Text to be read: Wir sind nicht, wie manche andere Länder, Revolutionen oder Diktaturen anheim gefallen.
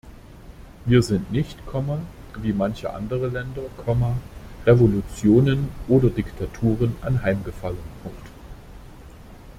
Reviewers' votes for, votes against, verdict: 0, 2, rejected